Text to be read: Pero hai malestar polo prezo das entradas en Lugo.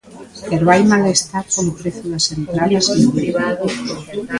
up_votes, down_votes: 0, 2